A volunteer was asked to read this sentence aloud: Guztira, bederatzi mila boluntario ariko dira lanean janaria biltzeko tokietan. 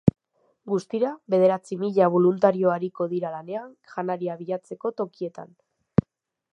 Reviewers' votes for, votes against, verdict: 0, 2, rejected